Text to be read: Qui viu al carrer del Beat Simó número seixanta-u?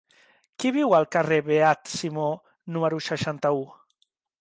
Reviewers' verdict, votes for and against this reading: rejected, 1, 2